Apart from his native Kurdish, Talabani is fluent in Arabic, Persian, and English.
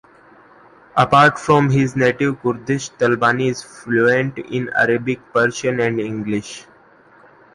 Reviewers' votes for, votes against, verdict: 2, 0, accepted